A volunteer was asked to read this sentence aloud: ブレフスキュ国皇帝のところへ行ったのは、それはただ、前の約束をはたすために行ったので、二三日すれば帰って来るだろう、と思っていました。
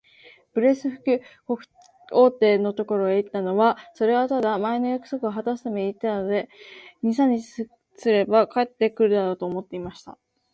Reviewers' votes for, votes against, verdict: 1, 2, rejected